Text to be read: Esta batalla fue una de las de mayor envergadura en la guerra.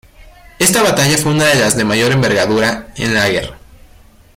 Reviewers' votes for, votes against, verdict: 2, 0, accepted